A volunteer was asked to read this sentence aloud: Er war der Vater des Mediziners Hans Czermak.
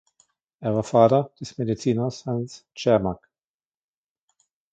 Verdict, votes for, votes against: accepted, 2, 1